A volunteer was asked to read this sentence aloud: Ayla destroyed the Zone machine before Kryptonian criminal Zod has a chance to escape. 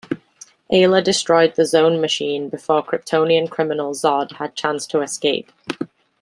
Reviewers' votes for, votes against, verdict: 1, 2, rejected